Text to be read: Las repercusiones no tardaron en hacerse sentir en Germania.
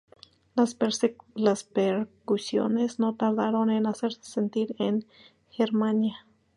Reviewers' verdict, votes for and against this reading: rejected, 0, 2